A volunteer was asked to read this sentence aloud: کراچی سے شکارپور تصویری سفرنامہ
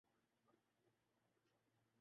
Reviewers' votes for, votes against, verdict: 1, 4, rejected